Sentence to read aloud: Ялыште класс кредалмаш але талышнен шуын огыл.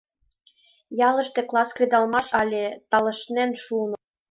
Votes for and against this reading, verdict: 1, 2, rejected